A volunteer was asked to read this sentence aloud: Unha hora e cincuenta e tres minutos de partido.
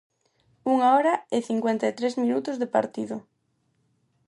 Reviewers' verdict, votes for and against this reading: accepted, 4, 0